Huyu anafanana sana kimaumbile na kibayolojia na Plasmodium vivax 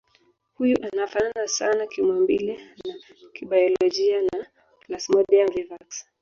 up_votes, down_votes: 1, 2